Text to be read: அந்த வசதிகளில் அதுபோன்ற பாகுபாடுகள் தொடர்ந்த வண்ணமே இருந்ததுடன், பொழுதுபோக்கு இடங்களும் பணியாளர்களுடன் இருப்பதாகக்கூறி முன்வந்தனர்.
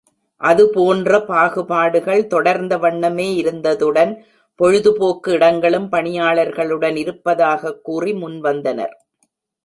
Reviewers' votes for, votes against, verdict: 0, 2, rejected